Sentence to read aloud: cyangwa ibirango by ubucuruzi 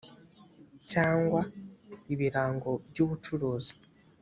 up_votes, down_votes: 2, 0